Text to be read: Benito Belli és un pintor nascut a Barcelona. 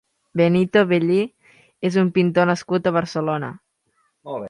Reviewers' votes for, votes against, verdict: 4, 2, accepted